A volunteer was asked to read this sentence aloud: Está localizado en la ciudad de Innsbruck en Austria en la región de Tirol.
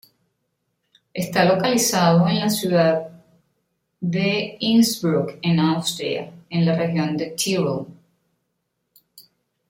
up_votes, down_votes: 0, 2